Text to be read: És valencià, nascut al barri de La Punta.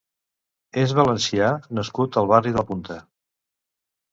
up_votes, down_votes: 1, 2